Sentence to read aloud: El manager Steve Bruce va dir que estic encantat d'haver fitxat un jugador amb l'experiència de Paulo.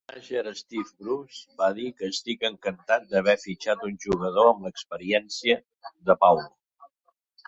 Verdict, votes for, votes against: rejected, 1, 2